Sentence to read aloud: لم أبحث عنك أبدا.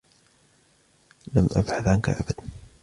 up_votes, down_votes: 2, 0